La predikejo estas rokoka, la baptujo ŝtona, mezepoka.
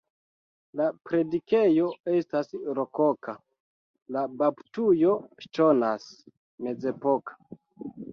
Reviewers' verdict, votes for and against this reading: rejected, 0, 2